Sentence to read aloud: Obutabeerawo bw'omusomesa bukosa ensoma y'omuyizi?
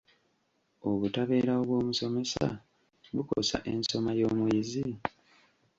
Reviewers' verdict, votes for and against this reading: rejected, 0, 2